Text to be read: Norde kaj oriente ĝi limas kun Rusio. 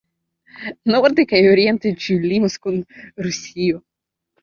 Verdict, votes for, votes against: rejected, 1, 2